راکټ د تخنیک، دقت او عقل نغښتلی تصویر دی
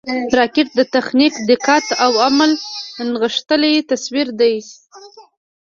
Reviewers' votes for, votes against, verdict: 1, 2, rejected